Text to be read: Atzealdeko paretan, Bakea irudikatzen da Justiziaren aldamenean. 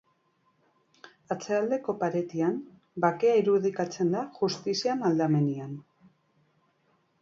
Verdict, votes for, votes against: rejected, 0, 2